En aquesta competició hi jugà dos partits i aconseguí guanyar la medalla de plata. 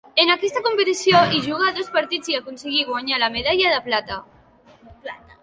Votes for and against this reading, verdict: 2, 0, accepted